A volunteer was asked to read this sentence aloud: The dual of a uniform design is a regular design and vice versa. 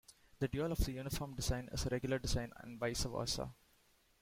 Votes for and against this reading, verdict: 1, 2, rejected